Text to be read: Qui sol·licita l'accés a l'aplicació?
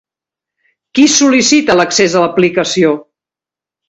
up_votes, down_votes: 2, 0